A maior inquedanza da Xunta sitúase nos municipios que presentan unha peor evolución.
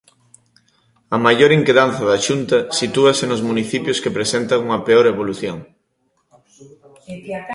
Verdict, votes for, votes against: rejected, 0, 2